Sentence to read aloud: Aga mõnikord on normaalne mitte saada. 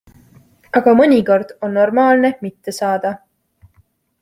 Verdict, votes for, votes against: accepted, 2, 0